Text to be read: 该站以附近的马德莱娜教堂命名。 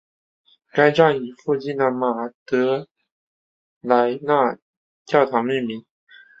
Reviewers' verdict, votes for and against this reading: accepted, 4, 0